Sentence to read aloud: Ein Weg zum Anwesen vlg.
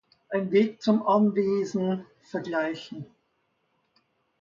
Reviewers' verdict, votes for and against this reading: rejected, 0, 2